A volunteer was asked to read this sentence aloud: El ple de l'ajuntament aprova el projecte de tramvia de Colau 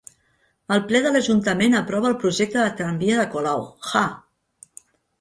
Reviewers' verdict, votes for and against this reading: rejected, 1, 3